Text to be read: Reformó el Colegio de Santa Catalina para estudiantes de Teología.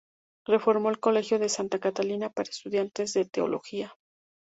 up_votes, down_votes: 2, 0